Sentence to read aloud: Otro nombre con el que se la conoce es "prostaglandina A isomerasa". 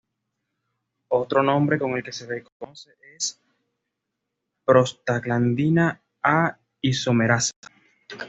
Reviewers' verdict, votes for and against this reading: accepted, 2, 1